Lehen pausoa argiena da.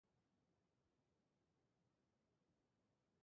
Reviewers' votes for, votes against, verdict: 0, 3, rejected